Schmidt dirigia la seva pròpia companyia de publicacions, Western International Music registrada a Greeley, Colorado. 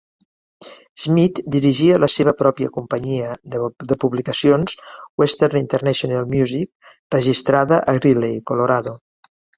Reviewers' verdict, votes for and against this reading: accepted, 2, 1